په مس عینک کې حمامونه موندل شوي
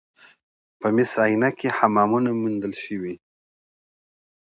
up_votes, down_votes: 2, 0